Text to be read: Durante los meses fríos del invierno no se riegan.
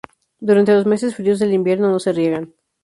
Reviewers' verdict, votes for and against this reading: accepted, 2, 0